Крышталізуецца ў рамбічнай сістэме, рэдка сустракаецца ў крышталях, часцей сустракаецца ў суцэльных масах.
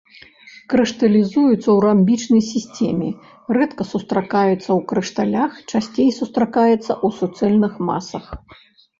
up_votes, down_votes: 1, 2